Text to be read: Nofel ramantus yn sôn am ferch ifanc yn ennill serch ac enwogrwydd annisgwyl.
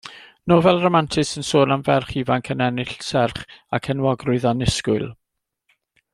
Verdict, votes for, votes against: accepted, 2, 0